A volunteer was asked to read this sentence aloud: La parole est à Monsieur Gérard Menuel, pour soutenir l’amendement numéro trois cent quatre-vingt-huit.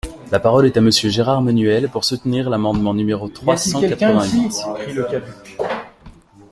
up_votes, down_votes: 0, 2